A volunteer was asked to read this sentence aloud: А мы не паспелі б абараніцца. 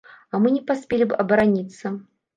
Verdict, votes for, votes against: accepted, 2, 0